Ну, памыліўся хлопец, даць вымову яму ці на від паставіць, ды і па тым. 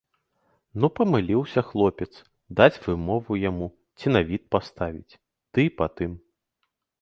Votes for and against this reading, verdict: 2, 0, accepted